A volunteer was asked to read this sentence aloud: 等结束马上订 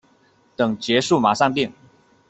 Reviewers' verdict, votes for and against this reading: accepted, 2, 1